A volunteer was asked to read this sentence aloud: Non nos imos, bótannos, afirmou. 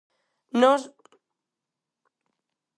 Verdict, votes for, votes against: rejected, 0, 4